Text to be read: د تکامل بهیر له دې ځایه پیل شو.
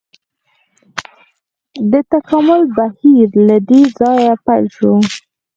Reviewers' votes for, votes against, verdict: 4, 0, accepted